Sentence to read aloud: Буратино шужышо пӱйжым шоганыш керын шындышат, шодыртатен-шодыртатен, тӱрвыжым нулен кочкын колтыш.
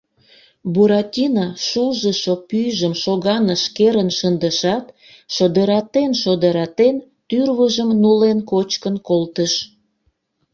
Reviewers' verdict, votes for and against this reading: rejected, 0, 2